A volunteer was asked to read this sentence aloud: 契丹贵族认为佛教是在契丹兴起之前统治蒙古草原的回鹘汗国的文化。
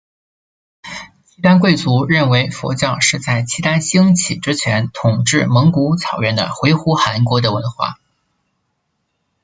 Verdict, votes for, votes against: accepted, 2, 0